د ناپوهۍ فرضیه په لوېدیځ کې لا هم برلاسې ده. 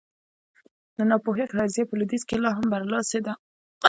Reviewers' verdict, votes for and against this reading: rejected, 1, 2